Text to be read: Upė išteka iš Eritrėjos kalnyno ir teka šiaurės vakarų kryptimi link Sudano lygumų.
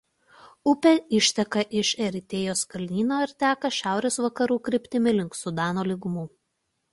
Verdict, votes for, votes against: rejected, 1, 2